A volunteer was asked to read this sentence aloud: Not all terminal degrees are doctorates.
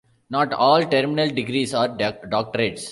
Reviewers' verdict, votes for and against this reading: rejected, 0, 2